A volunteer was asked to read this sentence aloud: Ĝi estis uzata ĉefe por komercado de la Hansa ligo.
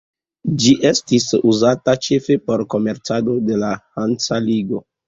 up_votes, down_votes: 1, 2